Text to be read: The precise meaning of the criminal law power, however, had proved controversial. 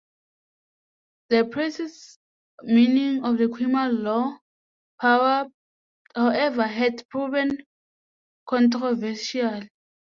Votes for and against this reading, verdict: 0, 2, rejected